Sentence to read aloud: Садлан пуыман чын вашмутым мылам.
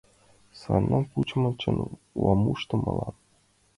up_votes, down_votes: 1, 2